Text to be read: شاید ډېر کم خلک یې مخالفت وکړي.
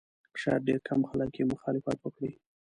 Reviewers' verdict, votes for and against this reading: rejected, 1, 2